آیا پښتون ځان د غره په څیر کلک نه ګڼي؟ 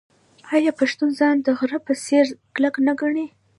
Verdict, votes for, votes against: rejected, 1, 2